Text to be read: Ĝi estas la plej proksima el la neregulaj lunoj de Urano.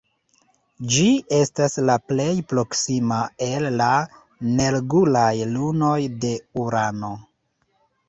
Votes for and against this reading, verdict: 1, 4, rejected